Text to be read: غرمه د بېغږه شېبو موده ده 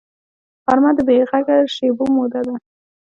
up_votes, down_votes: 2, 0